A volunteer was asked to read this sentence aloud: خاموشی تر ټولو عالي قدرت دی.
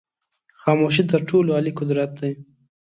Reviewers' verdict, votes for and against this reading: accepted, 2, 0